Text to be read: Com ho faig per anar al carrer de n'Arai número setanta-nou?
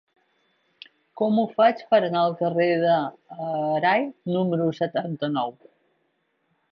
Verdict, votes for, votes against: rejected, 2, 3